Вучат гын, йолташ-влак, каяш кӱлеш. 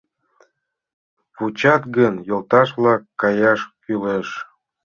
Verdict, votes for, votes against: accepted, 2, 0